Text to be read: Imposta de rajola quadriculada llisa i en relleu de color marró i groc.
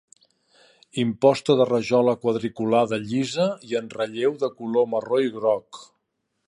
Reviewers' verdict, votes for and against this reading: accepted, 2, 0